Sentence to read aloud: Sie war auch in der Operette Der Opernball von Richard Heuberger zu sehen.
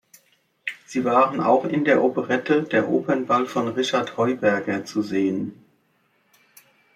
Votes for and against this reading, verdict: 2, 1, accepted